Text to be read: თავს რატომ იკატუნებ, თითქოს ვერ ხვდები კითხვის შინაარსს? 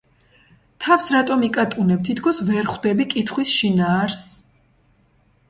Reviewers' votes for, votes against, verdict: 2, 1, accepted